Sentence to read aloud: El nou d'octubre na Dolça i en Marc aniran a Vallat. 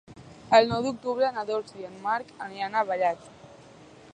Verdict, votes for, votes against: accepted, 2, 0